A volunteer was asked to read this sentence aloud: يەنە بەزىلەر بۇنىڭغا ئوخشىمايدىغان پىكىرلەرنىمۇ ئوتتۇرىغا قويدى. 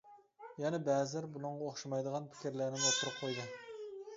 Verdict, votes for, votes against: accepted, 2, 0